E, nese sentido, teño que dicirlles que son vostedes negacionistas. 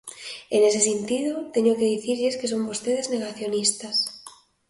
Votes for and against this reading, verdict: 2, 0, accepted